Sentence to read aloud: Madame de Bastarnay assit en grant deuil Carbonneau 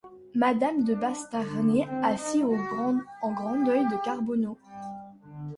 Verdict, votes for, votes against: rejected, 1, 2